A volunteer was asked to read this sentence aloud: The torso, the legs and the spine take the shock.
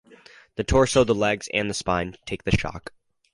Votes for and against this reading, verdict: 4, 0, accepted